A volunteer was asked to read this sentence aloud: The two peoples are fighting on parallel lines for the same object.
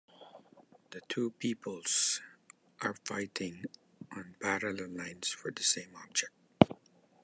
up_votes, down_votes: 1, 2